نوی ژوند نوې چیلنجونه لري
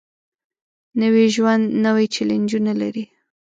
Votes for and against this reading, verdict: 2, 0, accepted